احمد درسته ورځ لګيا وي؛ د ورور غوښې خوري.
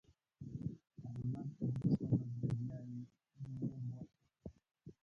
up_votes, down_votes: 0, 3